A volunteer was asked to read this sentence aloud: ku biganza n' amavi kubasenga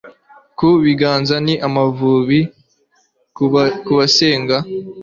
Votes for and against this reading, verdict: 0, 2, rejected